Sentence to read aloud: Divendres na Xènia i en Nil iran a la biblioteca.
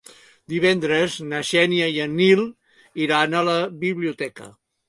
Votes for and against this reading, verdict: 3, 0, accepted